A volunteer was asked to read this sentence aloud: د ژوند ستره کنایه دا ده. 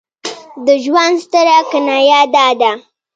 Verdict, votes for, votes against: accepted, 2, 0